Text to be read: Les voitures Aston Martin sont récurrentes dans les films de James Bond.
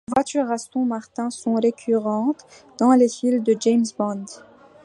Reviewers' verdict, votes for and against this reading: accepted, 2, 1